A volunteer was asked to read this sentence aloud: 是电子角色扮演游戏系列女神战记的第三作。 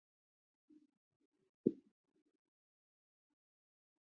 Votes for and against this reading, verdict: 2, 3, rejected